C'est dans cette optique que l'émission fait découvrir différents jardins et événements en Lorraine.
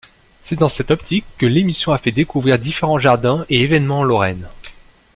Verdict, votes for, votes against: rejected, 0, 2